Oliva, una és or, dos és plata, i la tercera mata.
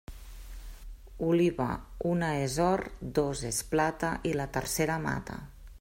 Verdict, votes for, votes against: accepted, 3, 0